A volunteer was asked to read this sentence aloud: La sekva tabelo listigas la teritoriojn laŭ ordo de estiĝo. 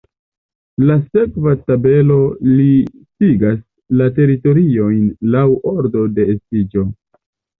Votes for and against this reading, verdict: 2, 1, accepted